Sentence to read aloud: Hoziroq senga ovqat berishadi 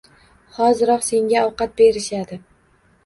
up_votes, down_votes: 2, 0